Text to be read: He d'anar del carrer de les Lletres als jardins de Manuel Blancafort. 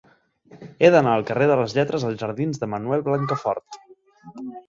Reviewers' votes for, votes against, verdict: 3, 1, accepted